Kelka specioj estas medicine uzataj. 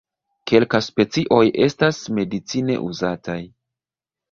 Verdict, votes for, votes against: rejected, 1, 2